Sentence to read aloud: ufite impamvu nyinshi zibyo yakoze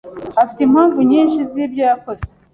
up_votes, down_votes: 2, 1